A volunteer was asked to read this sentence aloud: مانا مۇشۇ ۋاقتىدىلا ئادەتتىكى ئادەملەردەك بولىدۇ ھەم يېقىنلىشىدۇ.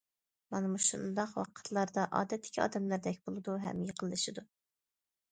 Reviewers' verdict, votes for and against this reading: rejected, 1, 2